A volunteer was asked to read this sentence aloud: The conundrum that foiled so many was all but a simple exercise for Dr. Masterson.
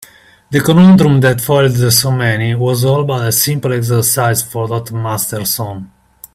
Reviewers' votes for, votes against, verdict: 2, 1, accepted